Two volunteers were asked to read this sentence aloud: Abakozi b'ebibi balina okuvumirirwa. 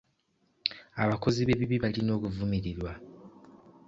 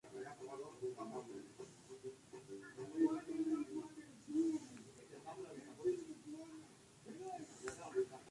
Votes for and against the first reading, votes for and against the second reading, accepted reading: 2, 0, 0, 2, first